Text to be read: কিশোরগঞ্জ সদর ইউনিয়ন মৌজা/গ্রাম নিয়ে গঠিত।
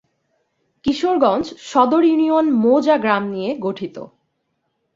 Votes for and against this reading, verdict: 2, 0, accepted